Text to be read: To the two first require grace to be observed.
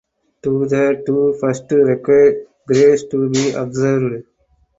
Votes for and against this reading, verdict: 0, 4, rejected